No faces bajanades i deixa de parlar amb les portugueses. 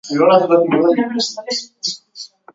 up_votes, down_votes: 0, 2